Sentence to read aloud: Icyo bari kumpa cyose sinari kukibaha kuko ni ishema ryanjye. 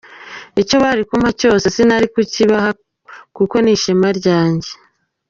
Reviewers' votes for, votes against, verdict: 2, 1, accepted